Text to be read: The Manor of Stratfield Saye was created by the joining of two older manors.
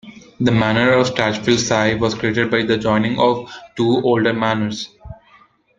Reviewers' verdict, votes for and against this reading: rejected, 0, 2